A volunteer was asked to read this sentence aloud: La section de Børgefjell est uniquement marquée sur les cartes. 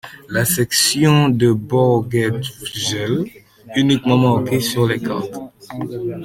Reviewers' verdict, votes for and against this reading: accepted, 2, 0